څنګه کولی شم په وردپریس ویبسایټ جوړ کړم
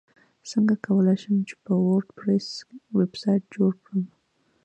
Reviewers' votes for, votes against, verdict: 2, 0, accepted